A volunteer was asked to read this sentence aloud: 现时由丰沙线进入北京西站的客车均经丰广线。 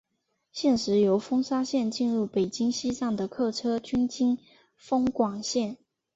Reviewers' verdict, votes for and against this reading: accepted, 3, 0